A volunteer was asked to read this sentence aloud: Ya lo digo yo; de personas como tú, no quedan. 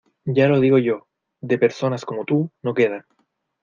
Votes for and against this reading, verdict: 2, 0, accepted